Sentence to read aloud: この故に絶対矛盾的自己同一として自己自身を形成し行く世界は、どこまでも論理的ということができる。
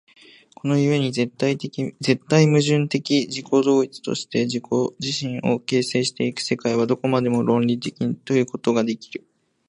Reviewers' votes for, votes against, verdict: 3, 5, rejected